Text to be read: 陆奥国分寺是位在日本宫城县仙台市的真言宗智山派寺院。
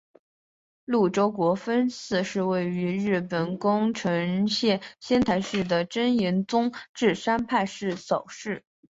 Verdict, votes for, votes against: rejected, 2, 3